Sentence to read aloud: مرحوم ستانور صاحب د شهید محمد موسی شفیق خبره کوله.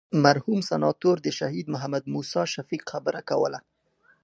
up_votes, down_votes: 0, 2